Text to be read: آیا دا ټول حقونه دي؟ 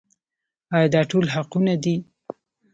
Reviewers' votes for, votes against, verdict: 2, 0, accepted